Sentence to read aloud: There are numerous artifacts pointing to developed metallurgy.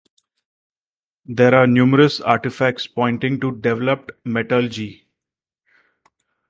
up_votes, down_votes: 2, 4